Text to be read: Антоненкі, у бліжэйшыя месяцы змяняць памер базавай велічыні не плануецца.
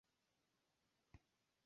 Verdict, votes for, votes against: rejected, 0, 2